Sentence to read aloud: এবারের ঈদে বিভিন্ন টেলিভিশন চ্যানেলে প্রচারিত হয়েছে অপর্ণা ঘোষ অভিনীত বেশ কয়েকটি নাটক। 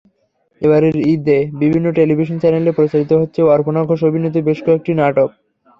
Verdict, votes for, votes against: rejected, 0, 3